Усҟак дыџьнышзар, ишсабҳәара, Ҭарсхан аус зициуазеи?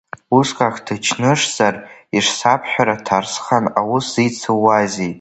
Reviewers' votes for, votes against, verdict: 0, 2, rejected